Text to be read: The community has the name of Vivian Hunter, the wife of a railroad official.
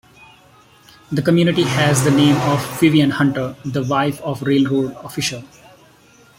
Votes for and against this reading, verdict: 1, 2, rejected